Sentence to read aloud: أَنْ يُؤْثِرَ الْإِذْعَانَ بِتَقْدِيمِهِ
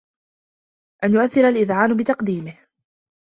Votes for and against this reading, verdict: 2, 0, accepted